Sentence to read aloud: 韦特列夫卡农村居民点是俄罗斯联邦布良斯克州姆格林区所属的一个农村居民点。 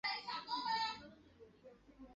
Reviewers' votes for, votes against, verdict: 0, 4, rejected